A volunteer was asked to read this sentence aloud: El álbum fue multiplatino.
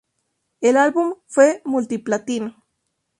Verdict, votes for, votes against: rejected, 2, 2